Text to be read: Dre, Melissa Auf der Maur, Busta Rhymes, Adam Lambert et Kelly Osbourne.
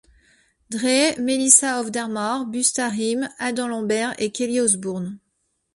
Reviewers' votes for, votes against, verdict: 2, 0, accepted